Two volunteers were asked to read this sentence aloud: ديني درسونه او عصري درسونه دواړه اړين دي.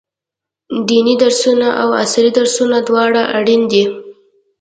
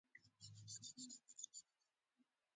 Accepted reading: first